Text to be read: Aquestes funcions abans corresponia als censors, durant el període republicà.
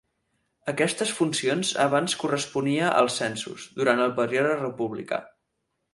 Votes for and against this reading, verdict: 6, 8, rejected